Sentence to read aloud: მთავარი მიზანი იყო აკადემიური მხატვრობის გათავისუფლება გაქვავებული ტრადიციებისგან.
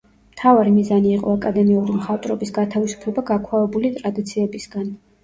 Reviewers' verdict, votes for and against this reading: accepted, 2, 1